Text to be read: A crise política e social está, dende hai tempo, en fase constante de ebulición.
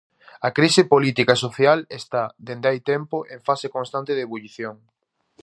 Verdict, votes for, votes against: rejected, 0, 2